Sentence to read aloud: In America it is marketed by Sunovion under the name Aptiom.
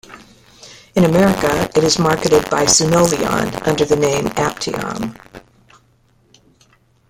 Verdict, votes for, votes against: accepted, 2, 1